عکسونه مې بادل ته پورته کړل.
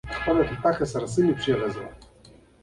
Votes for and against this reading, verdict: 2, 1, accepted